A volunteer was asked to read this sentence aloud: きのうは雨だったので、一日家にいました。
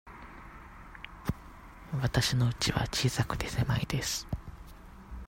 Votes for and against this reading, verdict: 0, 2, rejected